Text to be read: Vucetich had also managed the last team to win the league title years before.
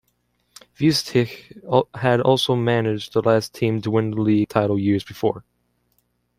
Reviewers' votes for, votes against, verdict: 0, 2, rejected